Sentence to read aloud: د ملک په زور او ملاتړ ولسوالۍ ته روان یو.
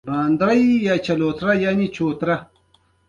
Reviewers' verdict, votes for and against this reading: rejected, 1, 2